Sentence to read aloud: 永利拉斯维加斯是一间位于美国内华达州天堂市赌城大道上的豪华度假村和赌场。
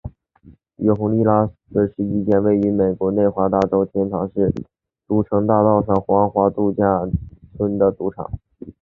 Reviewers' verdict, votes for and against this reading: rejected, 0, 2